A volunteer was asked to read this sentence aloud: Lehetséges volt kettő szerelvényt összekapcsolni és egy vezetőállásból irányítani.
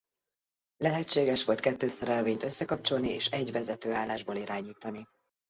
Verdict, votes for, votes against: accepted, 2, 0